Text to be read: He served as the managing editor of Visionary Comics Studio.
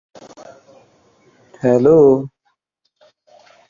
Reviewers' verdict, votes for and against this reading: rejected, 0, 2